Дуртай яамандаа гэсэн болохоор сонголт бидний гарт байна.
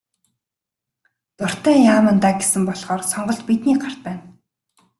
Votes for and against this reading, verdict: 3, 0, accepted